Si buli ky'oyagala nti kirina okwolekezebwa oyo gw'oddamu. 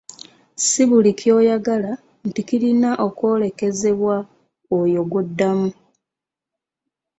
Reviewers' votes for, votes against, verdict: 1, 2, rejected